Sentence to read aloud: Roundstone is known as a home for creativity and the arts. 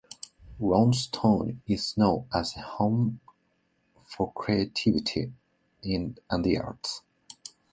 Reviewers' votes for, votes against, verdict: 0, 2, rejected